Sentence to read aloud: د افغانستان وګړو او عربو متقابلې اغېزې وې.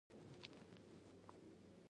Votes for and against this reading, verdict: 1, 2, rejected